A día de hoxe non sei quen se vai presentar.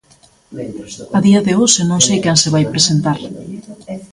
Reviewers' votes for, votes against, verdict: 0, 2, rejected